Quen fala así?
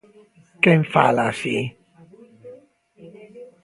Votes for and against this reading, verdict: 1, 2, rejected